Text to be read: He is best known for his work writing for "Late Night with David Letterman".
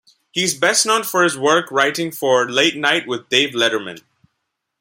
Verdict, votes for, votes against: rejected, 0, 2